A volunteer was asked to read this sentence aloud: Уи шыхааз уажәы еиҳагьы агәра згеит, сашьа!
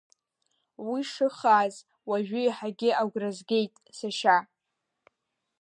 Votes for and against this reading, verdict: 2, 0, accepted